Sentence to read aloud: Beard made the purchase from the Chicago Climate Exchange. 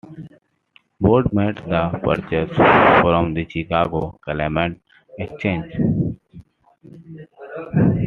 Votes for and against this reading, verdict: 1, 2, rejected